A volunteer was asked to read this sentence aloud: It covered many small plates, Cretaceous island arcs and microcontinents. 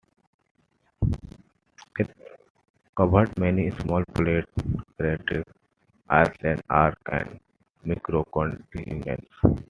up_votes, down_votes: 0, 2